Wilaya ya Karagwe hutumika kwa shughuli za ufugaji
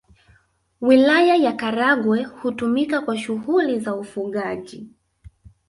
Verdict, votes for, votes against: accepted, 3, 0